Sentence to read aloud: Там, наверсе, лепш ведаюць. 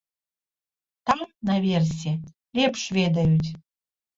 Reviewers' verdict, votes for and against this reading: rejected, 1, 2